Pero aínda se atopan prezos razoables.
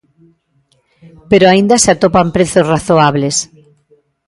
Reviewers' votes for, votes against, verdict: 1, 2, rejected